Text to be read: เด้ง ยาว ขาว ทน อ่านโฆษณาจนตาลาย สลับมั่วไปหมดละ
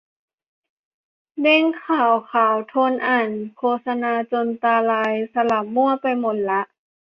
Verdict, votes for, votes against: rejected, 0, 2